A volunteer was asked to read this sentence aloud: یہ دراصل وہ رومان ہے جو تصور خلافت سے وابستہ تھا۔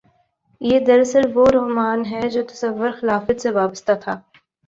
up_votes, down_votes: 2, 0